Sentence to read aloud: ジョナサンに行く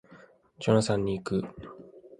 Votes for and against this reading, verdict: 2, 0, accepted